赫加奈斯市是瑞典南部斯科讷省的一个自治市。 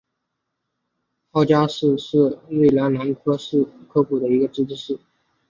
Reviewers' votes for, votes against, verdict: 3, 2, accepted